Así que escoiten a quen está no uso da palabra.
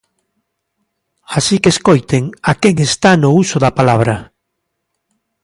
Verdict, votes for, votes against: accepted, 3, 1